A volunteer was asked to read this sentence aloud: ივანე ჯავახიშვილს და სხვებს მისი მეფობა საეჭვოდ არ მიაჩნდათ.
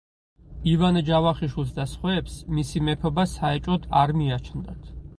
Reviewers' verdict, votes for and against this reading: accepted, 4, 0